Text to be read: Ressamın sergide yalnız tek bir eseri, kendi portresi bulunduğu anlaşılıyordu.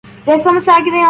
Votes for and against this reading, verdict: 0, 2, rejected